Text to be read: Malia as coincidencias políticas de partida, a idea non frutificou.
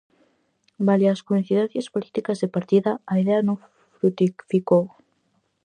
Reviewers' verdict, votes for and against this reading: rejected, 0, 4